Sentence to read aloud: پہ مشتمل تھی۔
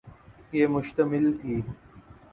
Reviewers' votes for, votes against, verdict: 3, 0, accepted